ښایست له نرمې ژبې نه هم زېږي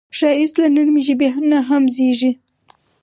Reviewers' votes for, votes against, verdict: 4, 0, accepted